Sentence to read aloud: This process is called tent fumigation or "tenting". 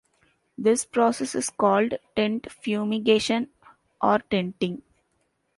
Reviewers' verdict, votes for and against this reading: accepted, 2, 0